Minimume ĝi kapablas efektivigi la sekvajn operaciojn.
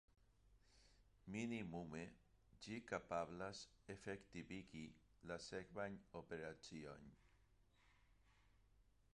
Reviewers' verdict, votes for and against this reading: rejected, 1, 2